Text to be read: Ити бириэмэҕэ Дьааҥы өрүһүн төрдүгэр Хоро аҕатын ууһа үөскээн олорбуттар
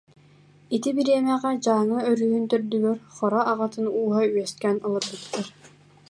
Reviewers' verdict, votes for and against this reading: rejected, 0, 2